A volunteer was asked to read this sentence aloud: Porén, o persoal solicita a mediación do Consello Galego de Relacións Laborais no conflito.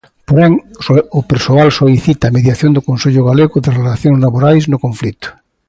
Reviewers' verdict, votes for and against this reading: rejected, 0, 2